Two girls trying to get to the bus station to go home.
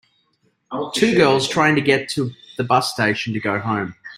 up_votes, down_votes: 1, 2